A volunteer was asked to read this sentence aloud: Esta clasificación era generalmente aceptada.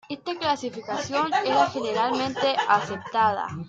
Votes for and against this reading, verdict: 1, 2, rejected